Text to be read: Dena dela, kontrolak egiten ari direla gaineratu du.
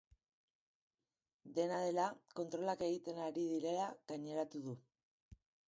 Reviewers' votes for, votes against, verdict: 3, 0, accepted